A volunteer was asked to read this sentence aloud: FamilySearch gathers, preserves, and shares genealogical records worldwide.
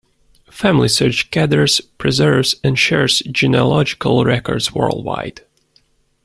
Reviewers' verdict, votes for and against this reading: accepted, 2, 0